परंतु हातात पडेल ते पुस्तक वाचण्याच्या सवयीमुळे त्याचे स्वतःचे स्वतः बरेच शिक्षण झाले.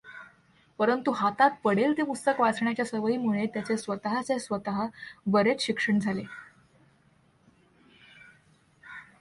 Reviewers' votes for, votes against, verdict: 2, 1, accepted